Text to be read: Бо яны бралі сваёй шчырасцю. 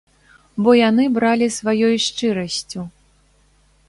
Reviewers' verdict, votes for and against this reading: accepted, 2, 0